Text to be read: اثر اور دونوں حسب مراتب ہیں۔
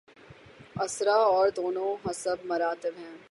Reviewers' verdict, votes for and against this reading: rejected, 3, 3